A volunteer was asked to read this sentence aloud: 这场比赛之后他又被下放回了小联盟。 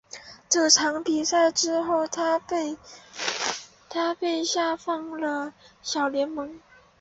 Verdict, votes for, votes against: rejected, 1, 4